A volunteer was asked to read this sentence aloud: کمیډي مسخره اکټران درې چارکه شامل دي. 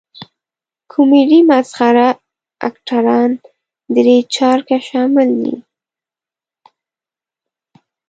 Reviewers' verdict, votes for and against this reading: rejected, 0, 2